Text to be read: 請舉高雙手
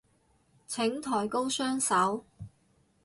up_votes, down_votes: 0, 4